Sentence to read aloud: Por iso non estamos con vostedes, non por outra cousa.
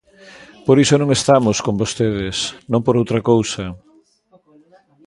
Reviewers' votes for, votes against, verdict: 0, 2, rejected